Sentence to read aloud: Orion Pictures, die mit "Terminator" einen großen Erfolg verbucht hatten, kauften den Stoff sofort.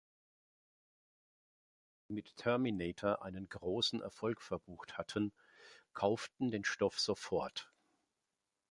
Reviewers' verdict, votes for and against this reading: rejected, 1, 2